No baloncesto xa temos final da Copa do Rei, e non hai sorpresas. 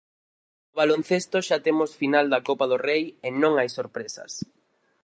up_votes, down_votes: 2, 4